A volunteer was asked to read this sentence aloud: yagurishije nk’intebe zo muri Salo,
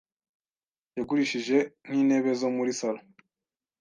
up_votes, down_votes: 2, 0